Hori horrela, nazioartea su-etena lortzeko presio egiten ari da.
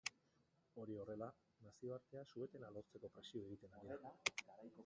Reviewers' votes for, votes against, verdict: 1, 4, rejected